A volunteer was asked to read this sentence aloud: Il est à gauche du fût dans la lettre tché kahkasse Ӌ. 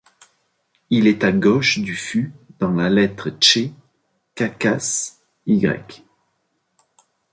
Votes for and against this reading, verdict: 3, 2, accepted